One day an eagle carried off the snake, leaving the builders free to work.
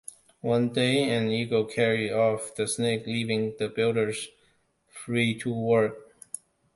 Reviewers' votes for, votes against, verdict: 2, 0, accepted